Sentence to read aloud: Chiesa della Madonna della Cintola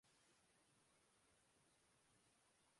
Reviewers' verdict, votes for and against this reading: rejected, 0, 2